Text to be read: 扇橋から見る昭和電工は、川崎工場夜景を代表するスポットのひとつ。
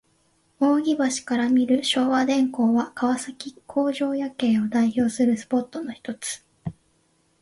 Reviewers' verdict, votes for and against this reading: accepted, 2, 0